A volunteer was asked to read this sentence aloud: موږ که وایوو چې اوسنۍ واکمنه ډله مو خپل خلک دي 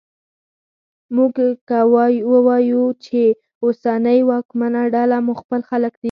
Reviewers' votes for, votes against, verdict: 0, 4, rejected